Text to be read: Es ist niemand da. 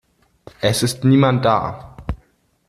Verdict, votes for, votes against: accepted, 2, 0